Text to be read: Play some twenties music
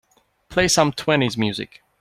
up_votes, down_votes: 2, 0